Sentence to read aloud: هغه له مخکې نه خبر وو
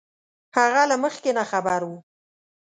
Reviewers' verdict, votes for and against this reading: accepted, 2, 0